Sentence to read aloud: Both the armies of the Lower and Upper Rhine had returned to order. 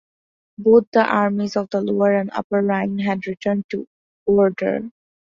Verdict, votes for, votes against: accepted, 2, 1